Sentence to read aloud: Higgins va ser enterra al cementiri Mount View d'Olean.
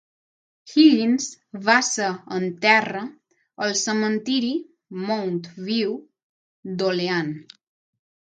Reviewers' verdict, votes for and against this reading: accepted, 6, 3